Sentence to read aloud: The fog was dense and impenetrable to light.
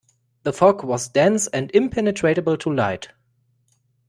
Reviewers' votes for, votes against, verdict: 0, 2, rejected